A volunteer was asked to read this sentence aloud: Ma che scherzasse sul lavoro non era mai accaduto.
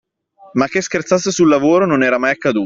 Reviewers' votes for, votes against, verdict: 0, 2, rejected